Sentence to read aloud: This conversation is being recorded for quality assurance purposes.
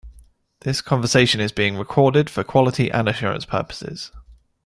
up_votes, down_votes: 2, 1